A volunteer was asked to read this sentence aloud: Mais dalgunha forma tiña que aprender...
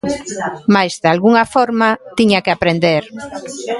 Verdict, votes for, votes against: rejected, 0, 2